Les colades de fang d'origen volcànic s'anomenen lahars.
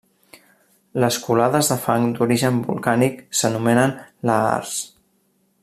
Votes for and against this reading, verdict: 2, 0, accepted